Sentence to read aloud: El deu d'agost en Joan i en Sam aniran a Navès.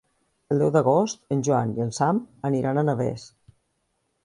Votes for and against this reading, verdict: 2, 0, accepted